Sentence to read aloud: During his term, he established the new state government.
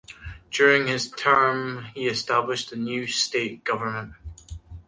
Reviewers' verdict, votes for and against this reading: accepted, 2, 1